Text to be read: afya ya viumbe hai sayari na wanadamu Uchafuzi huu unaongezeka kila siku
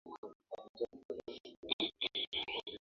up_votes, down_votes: 1, 2